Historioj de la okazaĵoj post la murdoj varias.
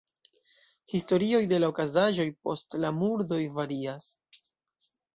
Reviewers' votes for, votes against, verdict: 2, 0, accepted